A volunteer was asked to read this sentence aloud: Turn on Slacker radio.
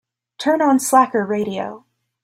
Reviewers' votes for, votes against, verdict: 2, 0, accepted